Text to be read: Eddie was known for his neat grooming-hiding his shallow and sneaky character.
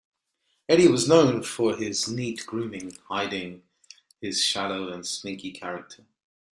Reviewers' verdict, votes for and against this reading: accepted, 2, 1